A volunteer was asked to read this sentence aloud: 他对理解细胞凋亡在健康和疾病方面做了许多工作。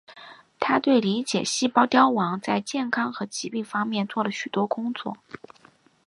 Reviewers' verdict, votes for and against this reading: accepted, 3, 0